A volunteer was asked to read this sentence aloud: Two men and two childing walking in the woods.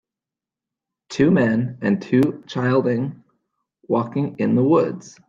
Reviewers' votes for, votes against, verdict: 2, 0, accepted